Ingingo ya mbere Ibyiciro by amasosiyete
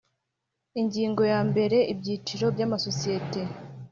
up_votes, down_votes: 2, 0